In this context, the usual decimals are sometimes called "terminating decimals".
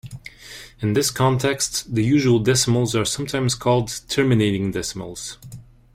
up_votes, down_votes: 2, 0